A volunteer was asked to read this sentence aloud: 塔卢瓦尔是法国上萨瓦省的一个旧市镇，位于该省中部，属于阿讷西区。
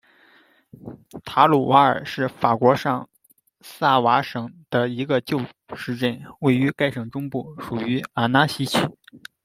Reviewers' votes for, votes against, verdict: 0, 2, rejected